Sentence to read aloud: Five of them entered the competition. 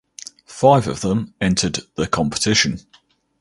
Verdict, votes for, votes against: accepted, 4, 0